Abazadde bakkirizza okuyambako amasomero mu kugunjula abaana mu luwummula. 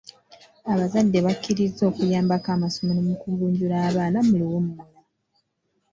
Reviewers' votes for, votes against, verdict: 2, 0, accepted